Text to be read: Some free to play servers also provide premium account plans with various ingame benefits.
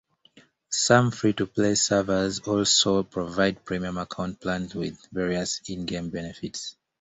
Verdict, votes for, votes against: accepted, 2, 0